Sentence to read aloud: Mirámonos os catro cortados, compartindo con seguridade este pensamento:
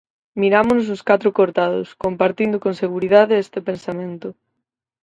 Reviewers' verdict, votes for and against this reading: accepted, 4, 0